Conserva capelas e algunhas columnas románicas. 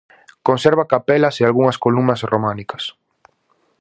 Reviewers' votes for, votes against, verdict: 2, 0, accepted